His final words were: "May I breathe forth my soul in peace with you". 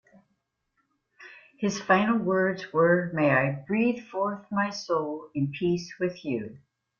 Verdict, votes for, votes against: accepted, 2, 0